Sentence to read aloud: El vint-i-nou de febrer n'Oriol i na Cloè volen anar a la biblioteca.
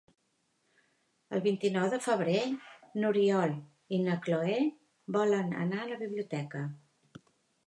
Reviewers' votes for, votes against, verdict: 2, 0, accepted